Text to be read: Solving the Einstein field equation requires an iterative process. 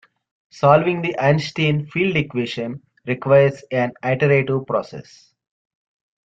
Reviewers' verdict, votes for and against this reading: rejected, 0, 2